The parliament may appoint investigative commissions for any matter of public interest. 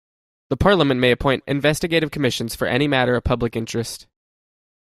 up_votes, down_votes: 2, 1